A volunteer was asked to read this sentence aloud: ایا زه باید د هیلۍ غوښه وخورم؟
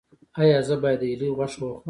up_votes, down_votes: 2, 0